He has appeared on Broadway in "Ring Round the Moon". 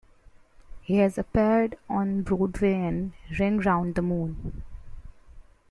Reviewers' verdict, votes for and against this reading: accepted, 2, 1